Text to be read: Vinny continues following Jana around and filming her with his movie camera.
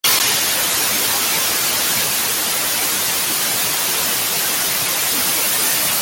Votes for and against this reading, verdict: 0, 2, rejected